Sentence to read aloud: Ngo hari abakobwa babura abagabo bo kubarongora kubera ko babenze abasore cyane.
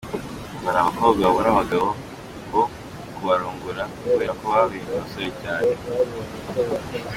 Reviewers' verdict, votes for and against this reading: accepted, 3, 2